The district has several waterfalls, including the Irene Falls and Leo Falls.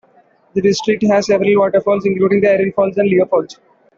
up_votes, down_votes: 1, 2